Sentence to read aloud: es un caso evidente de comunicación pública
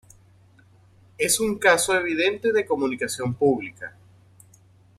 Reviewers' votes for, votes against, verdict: 2, 0, accepted